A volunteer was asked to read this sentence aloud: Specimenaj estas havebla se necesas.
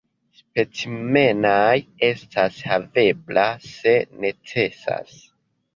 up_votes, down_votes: 2, 0